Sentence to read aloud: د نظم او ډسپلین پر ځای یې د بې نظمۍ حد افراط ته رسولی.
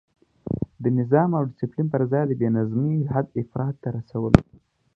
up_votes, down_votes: 2, 0